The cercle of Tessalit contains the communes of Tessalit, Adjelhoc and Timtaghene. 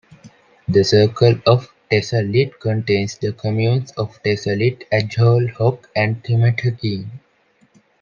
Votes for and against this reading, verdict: 2, 3, rejected